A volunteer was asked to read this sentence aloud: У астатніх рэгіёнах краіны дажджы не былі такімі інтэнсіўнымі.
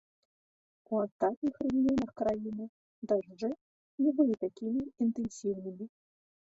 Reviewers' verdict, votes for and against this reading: rejected, 1, 2